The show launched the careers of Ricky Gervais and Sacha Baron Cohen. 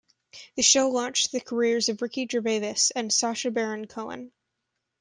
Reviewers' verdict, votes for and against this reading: rejected, 1, 2